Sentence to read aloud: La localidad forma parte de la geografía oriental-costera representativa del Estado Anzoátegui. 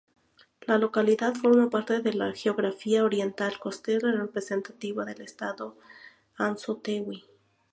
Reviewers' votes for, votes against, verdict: 0, 2, rejected